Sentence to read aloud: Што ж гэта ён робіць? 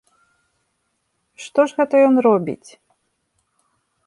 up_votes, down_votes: 2, 0